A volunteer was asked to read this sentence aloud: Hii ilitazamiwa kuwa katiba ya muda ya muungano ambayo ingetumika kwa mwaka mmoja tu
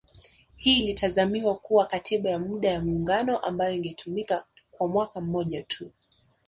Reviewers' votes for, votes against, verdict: 2, 1, accepted